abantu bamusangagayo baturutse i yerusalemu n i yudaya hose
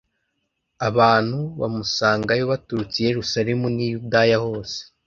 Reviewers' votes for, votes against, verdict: 0, 2, rejected